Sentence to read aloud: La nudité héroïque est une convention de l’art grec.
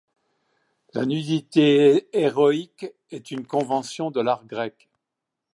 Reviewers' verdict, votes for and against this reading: accepted, 2, 0